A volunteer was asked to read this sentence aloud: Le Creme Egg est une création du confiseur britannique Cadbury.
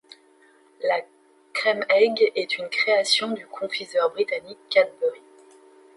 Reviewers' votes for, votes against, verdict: 1, 2, rejected